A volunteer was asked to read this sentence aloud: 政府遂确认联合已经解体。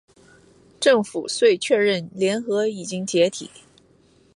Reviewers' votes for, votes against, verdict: 2, 0, accepted